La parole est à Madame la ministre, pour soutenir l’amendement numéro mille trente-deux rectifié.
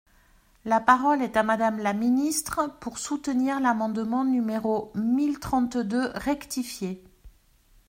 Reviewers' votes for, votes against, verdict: 2, 0, accepted